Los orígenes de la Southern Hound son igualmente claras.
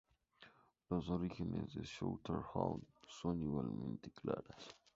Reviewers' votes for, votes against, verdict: 2, 0, accepted